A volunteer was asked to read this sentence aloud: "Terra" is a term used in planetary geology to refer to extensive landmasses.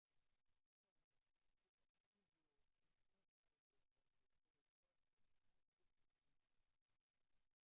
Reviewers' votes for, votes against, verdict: 0, 2, rejected